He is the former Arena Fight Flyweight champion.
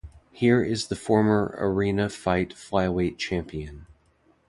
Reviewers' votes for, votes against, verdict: 0, 2, rejected